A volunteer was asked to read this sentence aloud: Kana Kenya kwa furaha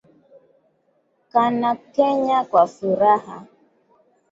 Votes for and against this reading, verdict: 2, 0, accepted